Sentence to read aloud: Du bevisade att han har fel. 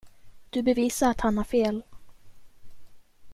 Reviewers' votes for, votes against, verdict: 2, 0, accepted